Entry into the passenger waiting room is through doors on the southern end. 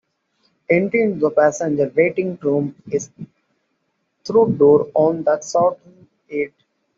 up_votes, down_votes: 0, 2